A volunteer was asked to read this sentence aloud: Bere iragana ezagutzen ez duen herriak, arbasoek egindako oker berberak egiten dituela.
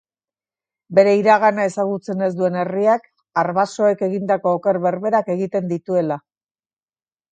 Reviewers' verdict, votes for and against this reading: accepted, 2, 0